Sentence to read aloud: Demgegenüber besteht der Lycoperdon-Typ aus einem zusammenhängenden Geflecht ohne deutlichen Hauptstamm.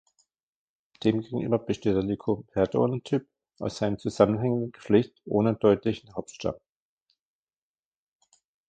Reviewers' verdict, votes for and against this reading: rejected, 0, 2